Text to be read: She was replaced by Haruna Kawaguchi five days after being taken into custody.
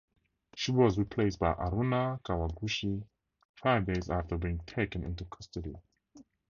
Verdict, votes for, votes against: accepted, 2, 0